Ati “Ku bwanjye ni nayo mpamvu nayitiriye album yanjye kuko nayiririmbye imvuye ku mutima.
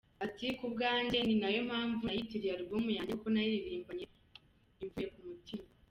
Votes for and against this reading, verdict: 1, 2, rejected